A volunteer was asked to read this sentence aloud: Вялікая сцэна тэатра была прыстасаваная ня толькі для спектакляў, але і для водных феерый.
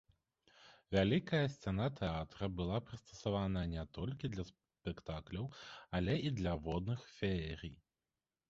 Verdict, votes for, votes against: rejected, 0, 2